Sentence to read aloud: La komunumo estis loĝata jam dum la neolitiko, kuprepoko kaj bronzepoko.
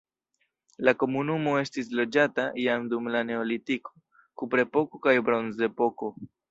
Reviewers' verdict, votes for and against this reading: accepted, 2, 0